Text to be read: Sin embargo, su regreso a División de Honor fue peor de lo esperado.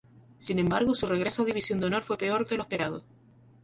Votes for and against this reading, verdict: 0, 4, rejected